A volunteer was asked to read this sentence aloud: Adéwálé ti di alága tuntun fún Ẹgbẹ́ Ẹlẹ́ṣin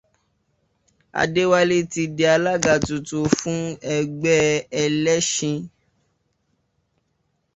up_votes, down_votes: 2, 0